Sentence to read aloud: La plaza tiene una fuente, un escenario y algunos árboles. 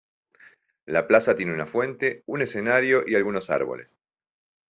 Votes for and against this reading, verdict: 1, 2, rejected